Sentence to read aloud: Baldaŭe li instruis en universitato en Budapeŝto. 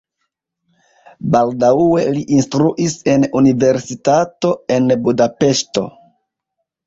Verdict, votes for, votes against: rejected, 1, 2